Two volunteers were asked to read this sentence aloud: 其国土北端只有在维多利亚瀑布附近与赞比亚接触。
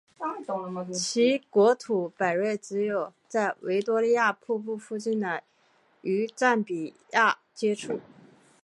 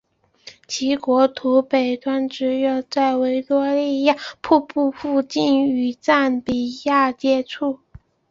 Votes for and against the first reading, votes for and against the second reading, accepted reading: 2, 3, 2, 0, second